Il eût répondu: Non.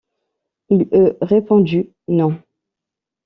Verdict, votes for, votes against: rejected, 1, 2